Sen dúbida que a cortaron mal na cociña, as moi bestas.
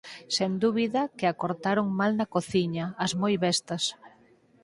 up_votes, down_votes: 8, 0